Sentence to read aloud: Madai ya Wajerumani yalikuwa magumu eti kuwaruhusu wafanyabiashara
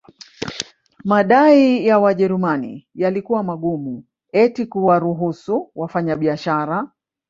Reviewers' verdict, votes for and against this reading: accepted, 4, 1